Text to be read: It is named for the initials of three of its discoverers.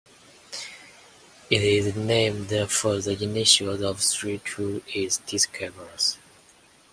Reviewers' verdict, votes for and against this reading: rejected, 1, 2